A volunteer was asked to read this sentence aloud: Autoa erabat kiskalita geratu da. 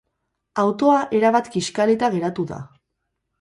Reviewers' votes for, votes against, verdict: 2, 0, accepted